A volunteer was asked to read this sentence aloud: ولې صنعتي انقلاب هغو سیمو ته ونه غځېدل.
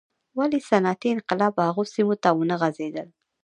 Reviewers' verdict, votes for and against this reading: rejected, 0, 2